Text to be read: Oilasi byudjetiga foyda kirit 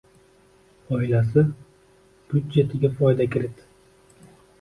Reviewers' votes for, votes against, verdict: 1, 2, rejected